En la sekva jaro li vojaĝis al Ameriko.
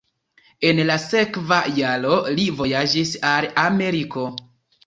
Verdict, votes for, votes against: rejected, 1, 2